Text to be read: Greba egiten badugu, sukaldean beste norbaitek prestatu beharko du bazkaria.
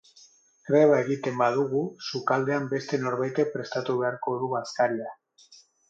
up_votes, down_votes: 6, 2